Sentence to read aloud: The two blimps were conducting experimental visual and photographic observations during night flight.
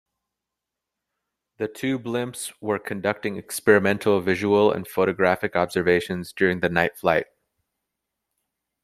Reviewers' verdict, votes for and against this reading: rejected, 1, 2